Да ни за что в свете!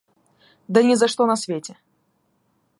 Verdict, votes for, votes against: accepted, 2, 1